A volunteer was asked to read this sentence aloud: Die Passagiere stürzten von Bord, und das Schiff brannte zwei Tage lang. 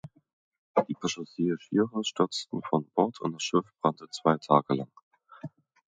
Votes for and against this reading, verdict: 1, 2, rejected